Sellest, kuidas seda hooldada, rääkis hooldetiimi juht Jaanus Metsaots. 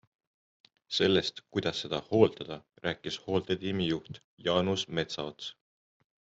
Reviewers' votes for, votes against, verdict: 2, 0, accepted